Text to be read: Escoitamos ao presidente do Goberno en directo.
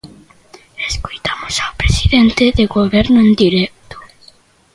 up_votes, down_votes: 0, 2